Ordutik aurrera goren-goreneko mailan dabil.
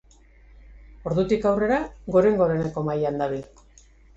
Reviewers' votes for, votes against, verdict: 2, 0, accepted